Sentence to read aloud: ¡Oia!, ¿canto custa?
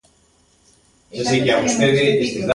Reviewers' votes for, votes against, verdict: 0, 2, rejected